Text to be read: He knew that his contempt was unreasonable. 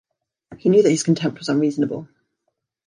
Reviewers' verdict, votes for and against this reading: accepted, 2, 0